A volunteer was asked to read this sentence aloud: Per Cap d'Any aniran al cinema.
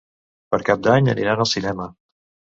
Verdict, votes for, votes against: accepted, 2, 0